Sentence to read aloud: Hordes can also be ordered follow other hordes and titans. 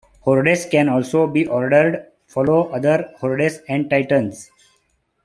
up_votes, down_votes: 0, 2